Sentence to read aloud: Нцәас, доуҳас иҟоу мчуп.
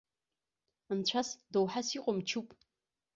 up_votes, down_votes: 1, 2